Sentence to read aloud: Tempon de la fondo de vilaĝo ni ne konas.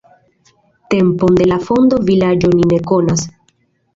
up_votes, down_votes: 1, 2